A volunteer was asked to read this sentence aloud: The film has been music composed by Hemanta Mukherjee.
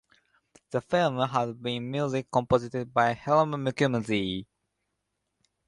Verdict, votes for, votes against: rejected, 0, 2